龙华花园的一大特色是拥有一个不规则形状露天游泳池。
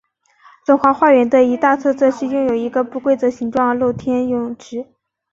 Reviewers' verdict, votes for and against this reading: accepted, 2, 0